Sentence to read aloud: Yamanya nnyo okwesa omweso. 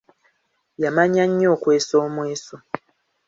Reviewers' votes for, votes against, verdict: 2, 0, accepted